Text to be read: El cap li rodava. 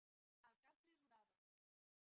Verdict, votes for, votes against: rejected, 0, 2